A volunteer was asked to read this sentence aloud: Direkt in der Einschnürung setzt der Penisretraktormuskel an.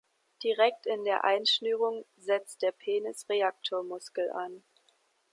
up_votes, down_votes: 1, 2